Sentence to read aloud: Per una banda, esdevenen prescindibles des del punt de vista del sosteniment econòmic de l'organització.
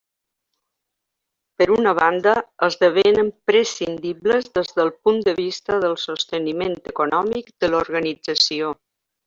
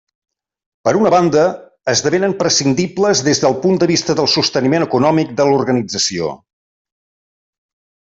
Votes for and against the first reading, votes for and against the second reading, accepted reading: 1, 2, 3, 0, second